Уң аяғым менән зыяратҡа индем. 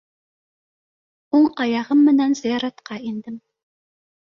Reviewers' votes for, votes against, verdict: 2, 0, accepted